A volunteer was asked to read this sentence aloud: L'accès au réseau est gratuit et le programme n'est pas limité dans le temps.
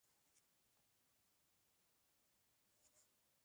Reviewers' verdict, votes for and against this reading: rejected, 1, 2